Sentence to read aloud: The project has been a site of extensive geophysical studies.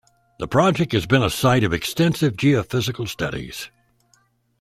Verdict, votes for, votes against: accepted, 2, 0